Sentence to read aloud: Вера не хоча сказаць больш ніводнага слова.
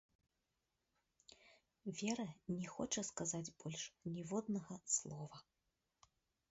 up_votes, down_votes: 1, 2